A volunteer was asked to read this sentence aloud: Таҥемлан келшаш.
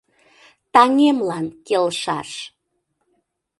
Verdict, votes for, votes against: accepted, 2, 0